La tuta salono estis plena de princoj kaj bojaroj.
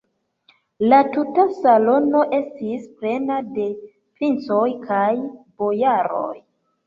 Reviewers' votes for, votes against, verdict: 1, 2, rejected